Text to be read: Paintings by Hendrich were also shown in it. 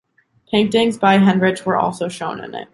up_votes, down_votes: 2, 0